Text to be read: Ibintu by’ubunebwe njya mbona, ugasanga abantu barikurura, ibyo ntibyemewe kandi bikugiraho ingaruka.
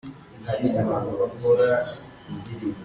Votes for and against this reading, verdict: 0, 2, rejected